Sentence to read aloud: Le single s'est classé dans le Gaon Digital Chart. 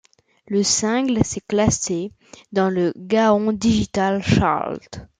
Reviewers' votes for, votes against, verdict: 1, 2, rejected